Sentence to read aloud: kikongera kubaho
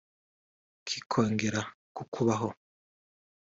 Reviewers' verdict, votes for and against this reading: accepted, 2, 1